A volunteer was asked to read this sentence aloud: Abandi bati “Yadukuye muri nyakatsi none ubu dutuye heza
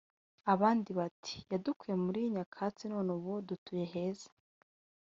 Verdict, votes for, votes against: rejected, 1, 2